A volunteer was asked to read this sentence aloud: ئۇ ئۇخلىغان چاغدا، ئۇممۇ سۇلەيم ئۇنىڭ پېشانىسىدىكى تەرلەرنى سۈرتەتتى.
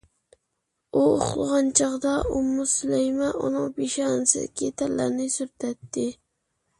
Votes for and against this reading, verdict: 2, 0, accepted